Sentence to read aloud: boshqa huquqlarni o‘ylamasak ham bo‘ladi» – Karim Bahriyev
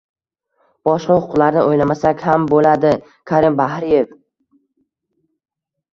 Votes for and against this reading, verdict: 1, 2, rejected